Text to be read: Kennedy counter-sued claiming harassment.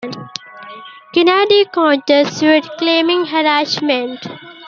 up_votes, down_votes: 2, 1